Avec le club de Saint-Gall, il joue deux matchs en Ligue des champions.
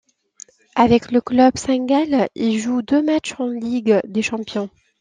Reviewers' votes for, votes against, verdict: 0, 2, rejected